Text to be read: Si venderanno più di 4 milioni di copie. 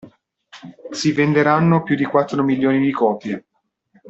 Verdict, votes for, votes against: rejected, 0, 2